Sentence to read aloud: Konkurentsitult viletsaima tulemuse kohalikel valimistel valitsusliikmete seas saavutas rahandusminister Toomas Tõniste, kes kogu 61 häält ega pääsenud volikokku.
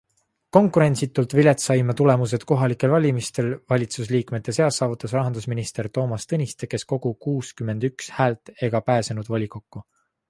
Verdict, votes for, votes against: rejected, 0, 2